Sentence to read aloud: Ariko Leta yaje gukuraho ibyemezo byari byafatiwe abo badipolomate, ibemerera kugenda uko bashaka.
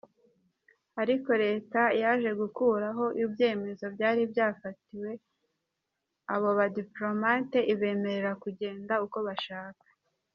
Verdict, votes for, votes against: rejected, 1, 2